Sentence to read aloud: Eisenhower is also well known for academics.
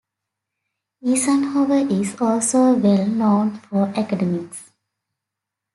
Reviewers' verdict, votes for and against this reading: accepted, 2, 1